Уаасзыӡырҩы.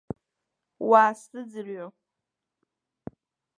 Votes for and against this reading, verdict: 2, 0, accepted